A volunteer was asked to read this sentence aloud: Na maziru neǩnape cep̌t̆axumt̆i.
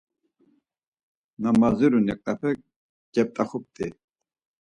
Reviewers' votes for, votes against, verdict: 2, 4, rejected